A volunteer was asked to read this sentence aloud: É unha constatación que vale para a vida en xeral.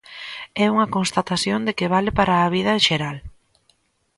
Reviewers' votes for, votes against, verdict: 0, 2, rejected